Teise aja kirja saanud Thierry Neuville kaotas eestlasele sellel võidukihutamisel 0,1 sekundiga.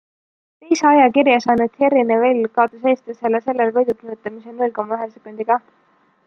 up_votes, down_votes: 0, 2